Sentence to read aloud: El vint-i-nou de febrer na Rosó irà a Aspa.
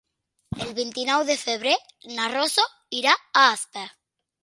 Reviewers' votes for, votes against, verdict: 0, 2, rejected